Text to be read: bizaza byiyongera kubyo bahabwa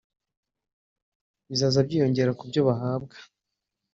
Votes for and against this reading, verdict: 1, 2, rejected